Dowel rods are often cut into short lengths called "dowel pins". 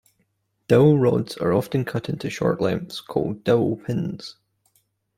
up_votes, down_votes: 2, 0